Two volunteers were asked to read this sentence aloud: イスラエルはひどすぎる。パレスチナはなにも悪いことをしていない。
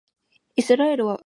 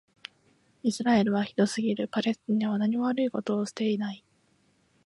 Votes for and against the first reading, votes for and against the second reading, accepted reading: 0, 2, 2, 0, second